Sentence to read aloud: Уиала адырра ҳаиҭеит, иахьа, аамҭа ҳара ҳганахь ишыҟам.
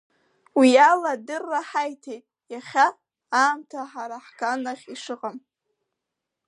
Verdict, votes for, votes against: accepted, 2, 0